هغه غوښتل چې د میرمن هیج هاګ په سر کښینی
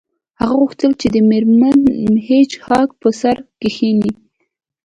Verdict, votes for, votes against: accepted, 2, 1